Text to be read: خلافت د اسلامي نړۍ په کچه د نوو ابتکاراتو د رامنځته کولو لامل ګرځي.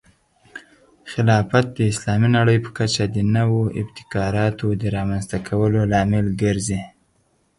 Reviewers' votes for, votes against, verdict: 10, 0, accepted